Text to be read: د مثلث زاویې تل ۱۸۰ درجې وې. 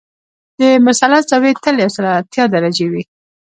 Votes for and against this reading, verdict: 0, 2, rejected